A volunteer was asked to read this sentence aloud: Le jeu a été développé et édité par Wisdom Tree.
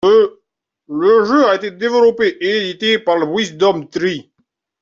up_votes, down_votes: 2, 3